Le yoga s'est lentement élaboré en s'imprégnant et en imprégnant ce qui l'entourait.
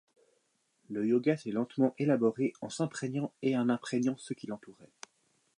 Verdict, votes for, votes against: accepted, 2, 0